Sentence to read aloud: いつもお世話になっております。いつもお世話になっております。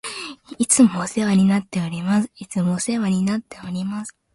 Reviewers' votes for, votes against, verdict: 2, 0, accepted